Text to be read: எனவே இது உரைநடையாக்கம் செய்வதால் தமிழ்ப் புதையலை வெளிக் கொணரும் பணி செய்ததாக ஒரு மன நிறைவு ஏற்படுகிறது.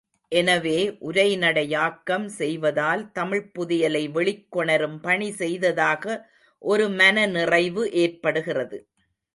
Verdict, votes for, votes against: rejected, 1, 2